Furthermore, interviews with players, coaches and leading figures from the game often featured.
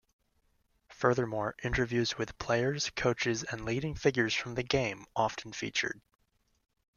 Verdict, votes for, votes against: accepted, 2, 0